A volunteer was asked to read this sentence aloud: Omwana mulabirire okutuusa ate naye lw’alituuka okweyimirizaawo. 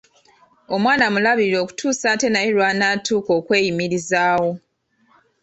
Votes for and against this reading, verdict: 1, 2, rejected